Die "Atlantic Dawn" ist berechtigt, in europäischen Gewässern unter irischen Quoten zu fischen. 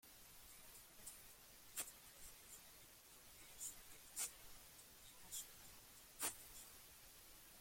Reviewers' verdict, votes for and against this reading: rejected, 0, 2